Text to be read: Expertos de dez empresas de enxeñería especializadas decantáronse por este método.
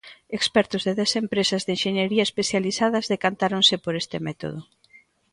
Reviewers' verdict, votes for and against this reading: accepted, 2, 0